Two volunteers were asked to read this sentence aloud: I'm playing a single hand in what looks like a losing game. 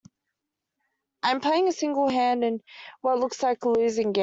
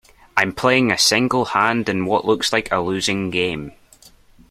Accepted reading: second